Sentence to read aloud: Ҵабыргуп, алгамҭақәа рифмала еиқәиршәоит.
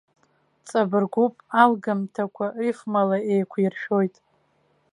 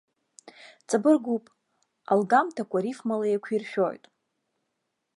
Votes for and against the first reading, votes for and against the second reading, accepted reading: 2, 0, 0, 2, first